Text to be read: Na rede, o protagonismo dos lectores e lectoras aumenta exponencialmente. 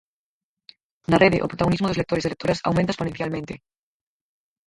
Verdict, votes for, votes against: rejected, 0, 4